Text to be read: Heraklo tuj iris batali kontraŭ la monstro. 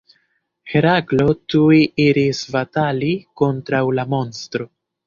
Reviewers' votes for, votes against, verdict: 1, 2, rejected